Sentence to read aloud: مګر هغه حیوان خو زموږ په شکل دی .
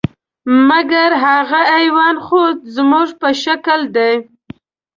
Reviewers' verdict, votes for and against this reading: accepted, 2, 0